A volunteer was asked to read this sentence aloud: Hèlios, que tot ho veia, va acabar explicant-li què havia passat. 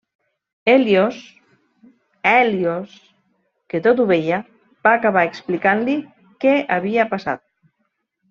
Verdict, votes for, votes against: rejected, 0, 2